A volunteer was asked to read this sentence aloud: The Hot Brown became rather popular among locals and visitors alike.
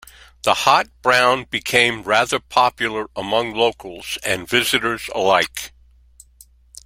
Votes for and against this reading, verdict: 3, 0, accepted